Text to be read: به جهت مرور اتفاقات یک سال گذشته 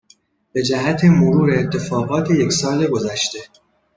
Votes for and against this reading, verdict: 2, 0, accepted